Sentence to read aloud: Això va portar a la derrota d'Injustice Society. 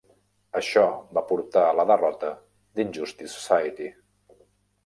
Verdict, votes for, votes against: rejected, 1, 2